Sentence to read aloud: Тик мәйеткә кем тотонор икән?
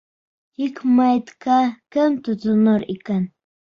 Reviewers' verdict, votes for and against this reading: rejected, 1, 2